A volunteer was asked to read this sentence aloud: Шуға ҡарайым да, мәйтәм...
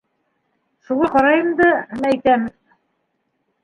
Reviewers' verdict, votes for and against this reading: accepted, 2, 1